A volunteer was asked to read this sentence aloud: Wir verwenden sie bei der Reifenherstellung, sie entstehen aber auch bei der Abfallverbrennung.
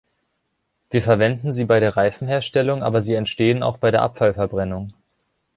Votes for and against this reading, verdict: 0, 2, rejected